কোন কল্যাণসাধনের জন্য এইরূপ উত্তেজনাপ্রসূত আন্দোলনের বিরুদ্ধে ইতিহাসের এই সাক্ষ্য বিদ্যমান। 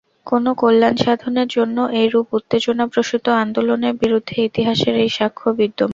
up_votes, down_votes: 0, 2